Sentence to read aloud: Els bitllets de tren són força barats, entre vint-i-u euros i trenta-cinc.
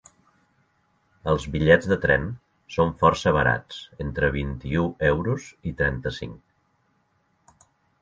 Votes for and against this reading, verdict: 3, 0, accepted